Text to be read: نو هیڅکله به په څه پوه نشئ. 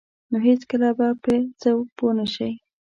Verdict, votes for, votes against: accepted, 2, 0